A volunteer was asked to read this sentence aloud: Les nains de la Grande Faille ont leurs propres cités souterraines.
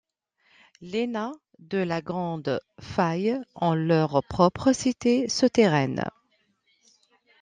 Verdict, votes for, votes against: accepted, 2, 0